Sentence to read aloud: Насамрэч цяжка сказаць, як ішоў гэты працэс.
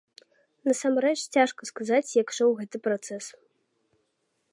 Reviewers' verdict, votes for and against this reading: accepted, 2, 0